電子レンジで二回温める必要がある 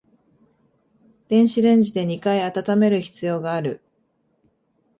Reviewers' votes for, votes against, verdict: 5, 0, accepted